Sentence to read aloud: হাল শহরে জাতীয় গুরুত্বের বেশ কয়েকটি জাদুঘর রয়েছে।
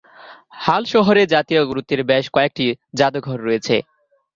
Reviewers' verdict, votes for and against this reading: accepted, 2, 1